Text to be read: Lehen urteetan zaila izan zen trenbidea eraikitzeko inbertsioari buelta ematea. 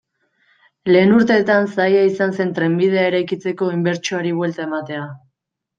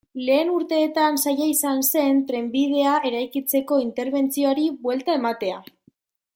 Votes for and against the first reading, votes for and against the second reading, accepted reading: 2, 0, 0, 2, first